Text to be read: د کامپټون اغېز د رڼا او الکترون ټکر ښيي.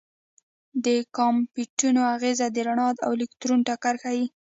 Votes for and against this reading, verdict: 2, 1, accepted